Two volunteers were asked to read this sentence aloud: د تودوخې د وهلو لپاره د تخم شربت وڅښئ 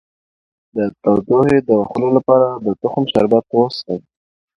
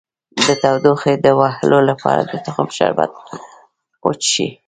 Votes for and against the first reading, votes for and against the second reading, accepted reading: 2, 0, 1, 2, first